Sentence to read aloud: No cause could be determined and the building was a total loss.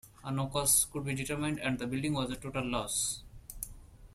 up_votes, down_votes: 2, 0